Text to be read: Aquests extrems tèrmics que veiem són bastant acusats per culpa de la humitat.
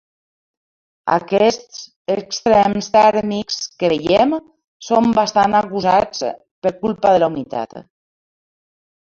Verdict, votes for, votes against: rejected, 1, 2